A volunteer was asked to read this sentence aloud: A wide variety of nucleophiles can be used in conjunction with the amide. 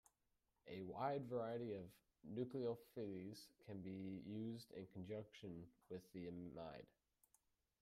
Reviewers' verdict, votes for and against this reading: rejected, 0, 2